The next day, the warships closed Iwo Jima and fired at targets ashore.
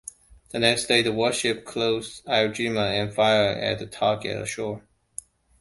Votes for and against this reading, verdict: 1, 2, rejected